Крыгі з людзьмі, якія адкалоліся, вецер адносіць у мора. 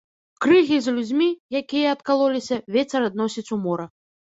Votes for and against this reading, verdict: 2, 0, accepted